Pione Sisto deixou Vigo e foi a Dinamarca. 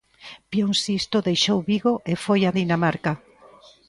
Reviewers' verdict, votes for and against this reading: rejected, 0, 2